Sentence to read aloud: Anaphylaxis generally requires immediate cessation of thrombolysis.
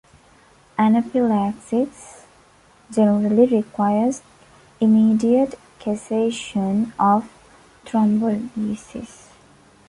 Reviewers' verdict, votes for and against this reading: accepted, 2, 0